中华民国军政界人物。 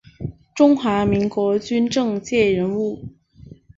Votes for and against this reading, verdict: 0, 2, rejected